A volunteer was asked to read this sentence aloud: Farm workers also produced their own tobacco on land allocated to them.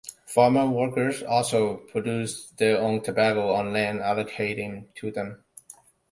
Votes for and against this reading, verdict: 1, 2, rejected